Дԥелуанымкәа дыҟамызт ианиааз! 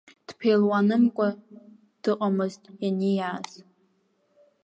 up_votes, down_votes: 0, 2